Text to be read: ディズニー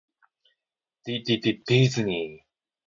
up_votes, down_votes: 0, 2